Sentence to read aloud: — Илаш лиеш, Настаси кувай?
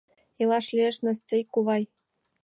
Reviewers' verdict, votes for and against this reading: rejected, 1, 2